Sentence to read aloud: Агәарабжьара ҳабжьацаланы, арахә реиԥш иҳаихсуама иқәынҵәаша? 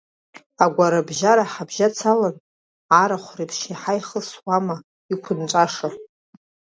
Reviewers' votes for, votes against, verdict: 2, 1, accepted